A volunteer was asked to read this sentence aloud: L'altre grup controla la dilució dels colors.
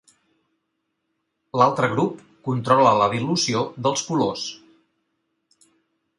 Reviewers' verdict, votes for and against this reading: accepted, 4, 0